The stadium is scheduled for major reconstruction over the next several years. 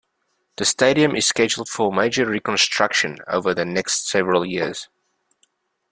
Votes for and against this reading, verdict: 2, 0, accepted